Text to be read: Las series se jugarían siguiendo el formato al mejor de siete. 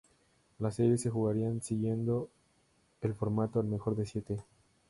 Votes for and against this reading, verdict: 2, 0, accepted